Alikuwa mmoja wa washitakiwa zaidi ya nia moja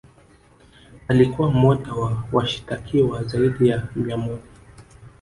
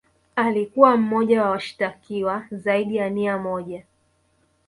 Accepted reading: second